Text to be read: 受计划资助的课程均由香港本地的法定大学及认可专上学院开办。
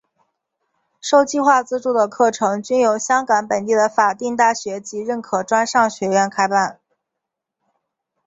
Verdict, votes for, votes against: accepted, 5, 0